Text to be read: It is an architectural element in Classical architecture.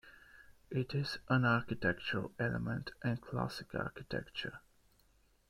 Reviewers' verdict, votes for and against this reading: accepted, 2, 1